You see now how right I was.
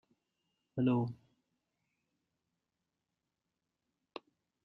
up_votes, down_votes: 0, 2